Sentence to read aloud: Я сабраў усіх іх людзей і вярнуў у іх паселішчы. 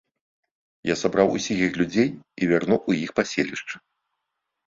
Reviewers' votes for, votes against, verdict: 2, 0, accepted